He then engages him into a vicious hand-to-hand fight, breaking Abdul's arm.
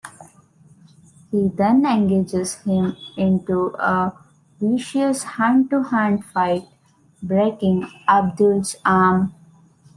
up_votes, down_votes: 1, 2